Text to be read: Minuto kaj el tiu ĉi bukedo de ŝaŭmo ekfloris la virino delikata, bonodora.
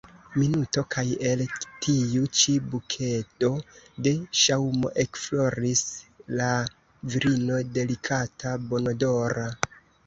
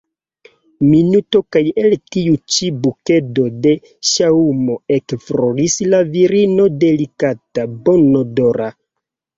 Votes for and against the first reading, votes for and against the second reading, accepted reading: 1, 2, 2, 0, second